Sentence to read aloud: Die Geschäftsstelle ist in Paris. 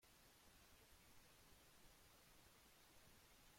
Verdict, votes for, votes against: rejected, 0, 2